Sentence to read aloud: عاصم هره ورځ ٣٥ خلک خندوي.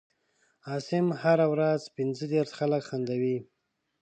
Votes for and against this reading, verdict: 0, 2, rejected